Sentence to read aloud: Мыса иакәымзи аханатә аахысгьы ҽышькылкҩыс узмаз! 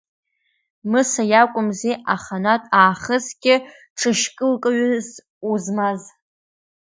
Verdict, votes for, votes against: accepted, 2, 0